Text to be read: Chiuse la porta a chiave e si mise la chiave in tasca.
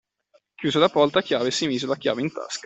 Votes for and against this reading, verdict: 2, 1, accepted